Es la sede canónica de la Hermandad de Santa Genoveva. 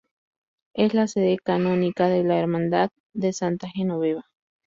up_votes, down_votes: 2, 0